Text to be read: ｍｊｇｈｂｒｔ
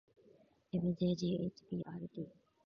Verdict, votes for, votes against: accepted, 4, 2